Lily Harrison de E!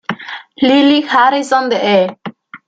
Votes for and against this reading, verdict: 2, 0, accepted